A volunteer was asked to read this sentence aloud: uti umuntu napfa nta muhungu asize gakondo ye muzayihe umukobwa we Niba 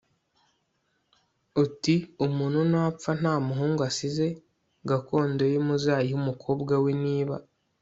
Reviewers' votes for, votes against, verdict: 2, 0, accepted